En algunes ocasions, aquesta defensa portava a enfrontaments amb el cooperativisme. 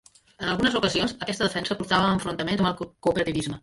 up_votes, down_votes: 0, 2